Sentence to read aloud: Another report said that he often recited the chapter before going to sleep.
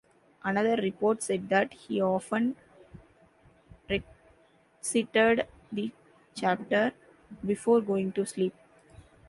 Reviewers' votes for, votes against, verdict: 1, 2, rejected